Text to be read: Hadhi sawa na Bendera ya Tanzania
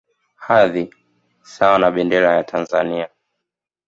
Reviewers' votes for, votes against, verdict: 3, 1, accepted